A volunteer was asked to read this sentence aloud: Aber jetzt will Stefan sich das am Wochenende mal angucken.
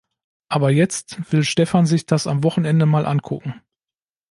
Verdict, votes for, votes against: accepted, 2, 0